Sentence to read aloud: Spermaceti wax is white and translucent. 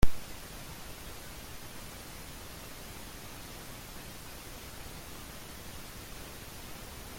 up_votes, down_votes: 0, 2